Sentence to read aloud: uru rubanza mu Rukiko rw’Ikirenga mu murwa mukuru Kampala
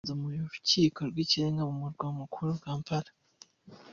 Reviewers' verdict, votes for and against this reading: rejected, 2, 3